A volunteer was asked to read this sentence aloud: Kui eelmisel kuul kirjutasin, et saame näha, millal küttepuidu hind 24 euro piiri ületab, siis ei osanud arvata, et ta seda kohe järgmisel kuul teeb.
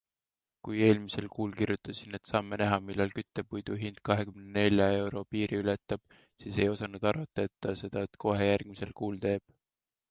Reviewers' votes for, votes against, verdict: 0, 2, rejected